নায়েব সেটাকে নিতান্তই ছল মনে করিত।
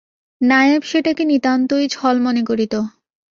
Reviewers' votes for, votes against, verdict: 2, 0, accepted